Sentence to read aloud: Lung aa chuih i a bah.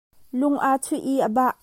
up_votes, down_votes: 2, 1